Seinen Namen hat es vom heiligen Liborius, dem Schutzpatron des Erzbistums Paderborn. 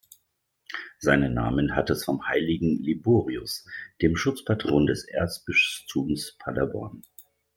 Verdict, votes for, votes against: rejected, 1, 2